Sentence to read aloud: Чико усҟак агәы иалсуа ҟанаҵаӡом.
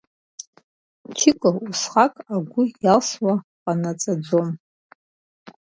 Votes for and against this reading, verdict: 2, 0, accepted